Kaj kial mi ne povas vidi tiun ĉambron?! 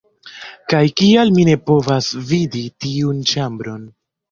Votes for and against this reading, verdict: 2, 0, accepted